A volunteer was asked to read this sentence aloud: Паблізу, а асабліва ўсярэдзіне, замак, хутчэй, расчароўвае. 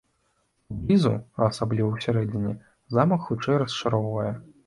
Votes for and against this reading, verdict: 1, 2, rejected